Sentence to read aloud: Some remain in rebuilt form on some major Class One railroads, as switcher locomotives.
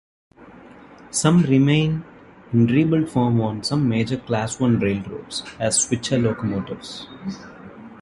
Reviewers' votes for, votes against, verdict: 2, 1, accepted